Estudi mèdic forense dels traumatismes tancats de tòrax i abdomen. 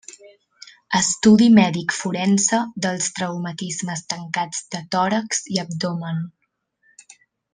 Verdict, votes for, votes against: accepted, 3, 0